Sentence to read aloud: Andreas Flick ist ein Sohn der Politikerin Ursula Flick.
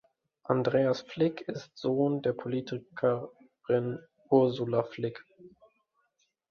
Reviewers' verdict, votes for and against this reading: rejected, 0, 2